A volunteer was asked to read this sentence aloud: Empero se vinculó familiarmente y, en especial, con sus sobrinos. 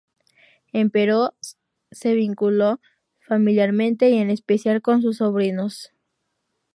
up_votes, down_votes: 0, 2